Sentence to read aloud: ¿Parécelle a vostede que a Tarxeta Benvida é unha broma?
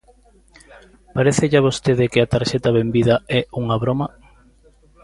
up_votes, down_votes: 2, 0